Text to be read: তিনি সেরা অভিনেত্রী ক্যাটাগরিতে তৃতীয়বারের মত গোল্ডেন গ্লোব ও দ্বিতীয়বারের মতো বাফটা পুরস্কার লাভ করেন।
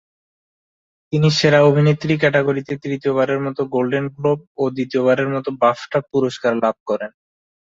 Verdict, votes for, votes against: accepted, 2, 1